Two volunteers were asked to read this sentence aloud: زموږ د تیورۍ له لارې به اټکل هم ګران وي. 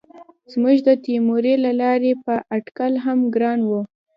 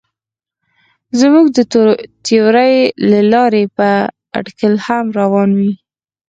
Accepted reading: second